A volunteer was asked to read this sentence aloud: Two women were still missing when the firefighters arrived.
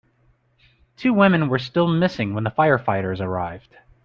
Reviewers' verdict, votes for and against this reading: accepted, 2, 0